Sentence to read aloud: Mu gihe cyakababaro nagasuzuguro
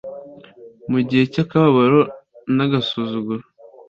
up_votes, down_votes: 2, 0